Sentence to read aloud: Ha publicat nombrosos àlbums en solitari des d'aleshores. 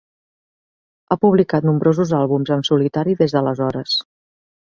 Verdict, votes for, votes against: accepted, 4, 0